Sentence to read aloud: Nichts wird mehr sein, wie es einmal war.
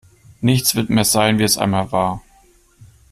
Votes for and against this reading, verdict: 2, 0, accepted